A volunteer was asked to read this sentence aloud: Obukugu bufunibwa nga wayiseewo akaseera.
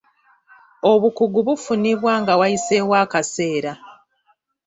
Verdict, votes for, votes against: accepted, 2, 0